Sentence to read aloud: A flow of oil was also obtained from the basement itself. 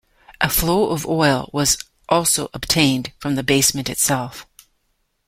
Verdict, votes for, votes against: accepted, 2, 0